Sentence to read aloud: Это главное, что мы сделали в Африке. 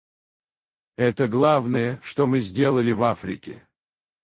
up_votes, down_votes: 2, 4